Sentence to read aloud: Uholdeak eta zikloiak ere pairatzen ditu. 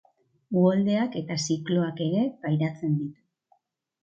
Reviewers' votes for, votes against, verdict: 0, 2, rejected